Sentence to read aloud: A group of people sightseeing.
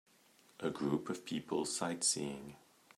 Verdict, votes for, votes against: accepted, 2, 0